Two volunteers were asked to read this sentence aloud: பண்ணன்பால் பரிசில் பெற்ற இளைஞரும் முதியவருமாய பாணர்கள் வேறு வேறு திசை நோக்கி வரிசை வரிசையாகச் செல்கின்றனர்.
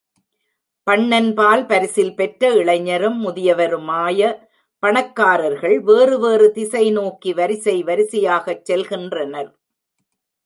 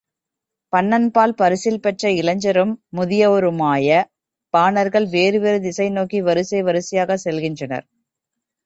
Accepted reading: second